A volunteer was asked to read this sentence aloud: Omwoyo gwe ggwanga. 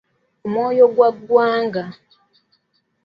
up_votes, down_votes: 0, 2